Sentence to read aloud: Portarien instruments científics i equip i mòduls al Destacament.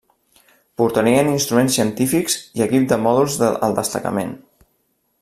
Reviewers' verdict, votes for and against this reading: rejected, 1, 2